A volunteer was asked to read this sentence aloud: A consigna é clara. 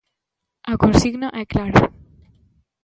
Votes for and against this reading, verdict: 2, 1, accepted